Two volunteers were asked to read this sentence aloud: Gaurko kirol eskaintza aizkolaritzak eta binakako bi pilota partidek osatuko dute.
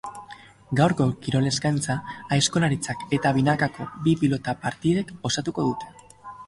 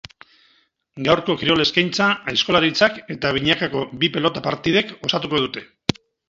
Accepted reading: first